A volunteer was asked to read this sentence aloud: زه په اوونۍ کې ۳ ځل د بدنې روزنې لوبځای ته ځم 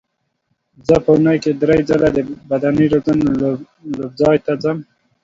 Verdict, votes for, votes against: rejected, 0, 2